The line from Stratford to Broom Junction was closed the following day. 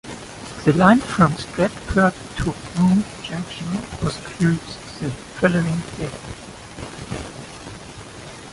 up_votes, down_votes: 2, 1